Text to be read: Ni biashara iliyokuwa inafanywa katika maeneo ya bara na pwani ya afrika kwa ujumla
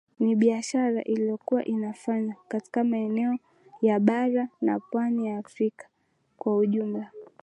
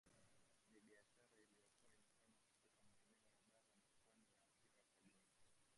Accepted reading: first